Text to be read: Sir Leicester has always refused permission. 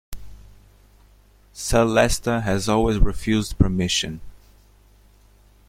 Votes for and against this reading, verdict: 1, 2, rejected